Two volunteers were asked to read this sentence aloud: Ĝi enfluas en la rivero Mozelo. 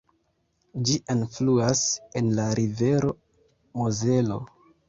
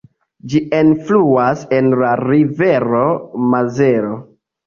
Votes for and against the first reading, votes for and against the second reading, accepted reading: 0, 2, 2, 0, second